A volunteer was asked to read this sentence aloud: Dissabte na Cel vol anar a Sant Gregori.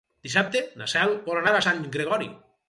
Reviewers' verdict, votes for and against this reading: rejected, 2, 2